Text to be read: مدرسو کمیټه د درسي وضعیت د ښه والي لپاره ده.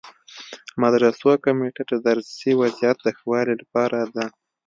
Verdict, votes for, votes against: accepted, 2, 0